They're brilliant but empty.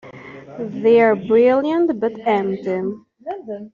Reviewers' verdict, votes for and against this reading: rejected, 0, 2